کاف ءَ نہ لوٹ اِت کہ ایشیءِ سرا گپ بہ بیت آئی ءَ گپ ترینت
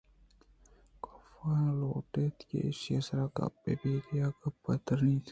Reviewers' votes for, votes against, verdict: 0, 2, rejected